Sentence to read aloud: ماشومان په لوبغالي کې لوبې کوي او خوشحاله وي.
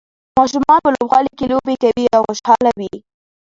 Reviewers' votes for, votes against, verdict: 2, 0, accepted